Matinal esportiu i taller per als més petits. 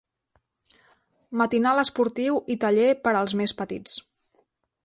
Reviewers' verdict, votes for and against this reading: accepted, 2, 0